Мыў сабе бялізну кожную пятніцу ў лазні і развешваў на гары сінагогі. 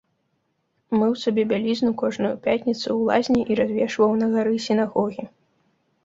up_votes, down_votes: 2, 0